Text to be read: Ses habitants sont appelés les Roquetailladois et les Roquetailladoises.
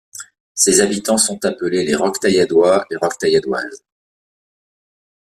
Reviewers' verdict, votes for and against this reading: accepted, 2, 0